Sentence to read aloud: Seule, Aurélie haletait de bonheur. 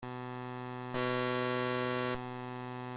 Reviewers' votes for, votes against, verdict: 0, 2, rejected